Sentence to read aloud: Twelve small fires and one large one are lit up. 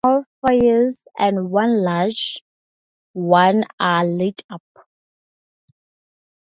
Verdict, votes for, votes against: rejected, 0, 2